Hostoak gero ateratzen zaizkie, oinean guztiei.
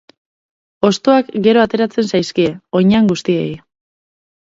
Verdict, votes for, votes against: accepted, 2, 0